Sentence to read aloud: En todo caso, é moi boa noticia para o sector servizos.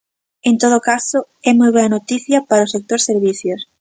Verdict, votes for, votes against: rejected, 0, 2